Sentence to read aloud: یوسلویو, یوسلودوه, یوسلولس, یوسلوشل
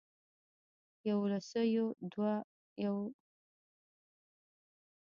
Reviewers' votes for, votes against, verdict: 1, 2, rejected